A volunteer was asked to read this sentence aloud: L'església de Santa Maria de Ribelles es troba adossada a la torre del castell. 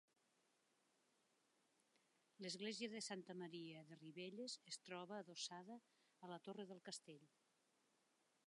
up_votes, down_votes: 2, 1